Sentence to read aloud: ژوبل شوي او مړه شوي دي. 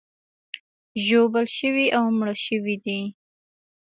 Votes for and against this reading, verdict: 2, 0, accepted